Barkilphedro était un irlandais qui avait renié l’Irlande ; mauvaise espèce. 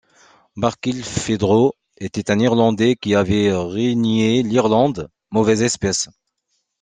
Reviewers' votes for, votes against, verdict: 1, 2, rejected